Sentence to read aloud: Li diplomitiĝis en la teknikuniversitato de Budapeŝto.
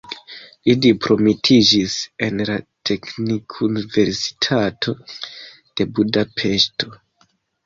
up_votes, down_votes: 2, 1